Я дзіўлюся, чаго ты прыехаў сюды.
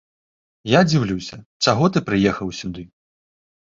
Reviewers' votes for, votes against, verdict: 2, 0, accepted